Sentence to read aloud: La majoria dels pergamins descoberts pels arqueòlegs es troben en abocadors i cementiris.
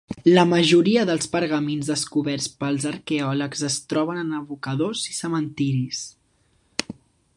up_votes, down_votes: 2, 0